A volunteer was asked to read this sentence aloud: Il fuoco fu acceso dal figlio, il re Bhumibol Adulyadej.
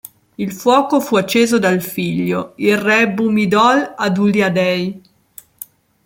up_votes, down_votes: 1, 2